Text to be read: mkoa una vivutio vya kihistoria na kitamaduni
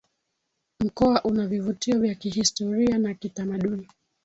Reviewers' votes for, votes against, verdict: 3, 1, accepted